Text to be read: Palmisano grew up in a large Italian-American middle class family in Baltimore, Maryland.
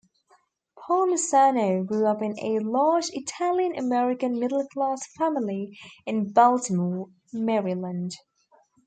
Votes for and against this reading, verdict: 2, 0, accepted